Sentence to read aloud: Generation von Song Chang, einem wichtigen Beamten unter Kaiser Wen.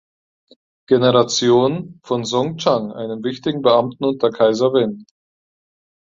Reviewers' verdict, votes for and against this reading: accepted, 4, 0